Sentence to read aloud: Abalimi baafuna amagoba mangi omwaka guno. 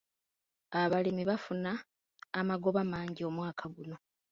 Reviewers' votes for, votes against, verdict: 1, 2, rejected